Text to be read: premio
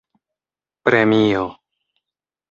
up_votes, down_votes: 2, 0